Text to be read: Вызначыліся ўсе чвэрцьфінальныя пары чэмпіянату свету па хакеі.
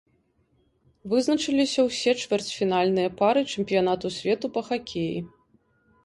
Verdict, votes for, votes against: accepted, 3, 0